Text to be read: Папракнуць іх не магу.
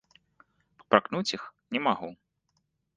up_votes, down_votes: 0, 2